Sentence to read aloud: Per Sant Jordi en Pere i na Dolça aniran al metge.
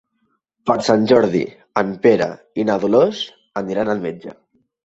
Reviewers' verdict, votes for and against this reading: rejected, 0, 2